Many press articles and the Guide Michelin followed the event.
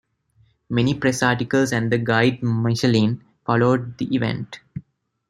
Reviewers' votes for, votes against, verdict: 2, 0, accepted